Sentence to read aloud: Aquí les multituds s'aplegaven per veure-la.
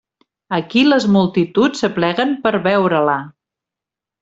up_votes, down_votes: 0, 2